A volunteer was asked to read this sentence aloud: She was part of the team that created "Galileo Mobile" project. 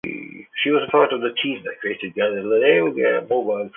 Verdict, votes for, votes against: rejected, 1, 2